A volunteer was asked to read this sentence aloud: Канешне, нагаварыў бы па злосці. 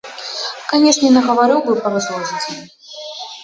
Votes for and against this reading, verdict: 1, 2, rejected